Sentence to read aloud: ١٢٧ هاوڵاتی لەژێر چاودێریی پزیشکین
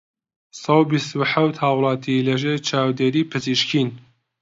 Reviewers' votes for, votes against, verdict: 0, 2, rejected